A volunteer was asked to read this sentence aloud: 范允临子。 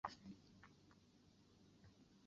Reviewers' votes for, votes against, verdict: 0, 2, rejected